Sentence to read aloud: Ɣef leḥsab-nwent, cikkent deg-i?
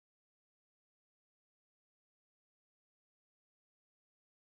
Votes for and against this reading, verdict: 0, 2, rejected